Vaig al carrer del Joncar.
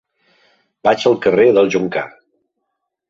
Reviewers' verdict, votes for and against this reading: accepted, 2, 0